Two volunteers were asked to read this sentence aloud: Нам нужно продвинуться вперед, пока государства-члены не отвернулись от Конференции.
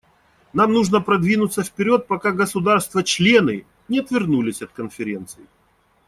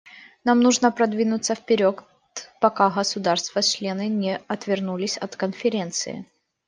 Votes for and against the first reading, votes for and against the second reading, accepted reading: 2, 0, 0, 2, first